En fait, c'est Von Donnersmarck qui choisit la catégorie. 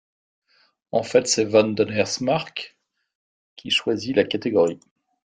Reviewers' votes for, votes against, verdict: 2, 0, accepted